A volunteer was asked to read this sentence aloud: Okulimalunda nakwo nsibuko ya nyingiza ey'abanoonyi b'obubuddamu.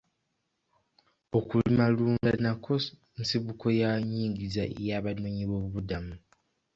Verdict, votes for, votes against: rejected, 0, 2